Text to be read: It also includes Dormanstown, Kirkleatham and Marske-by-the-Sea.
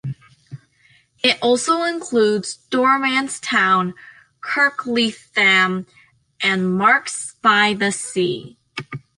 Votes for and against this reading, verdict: 2, 1, accepted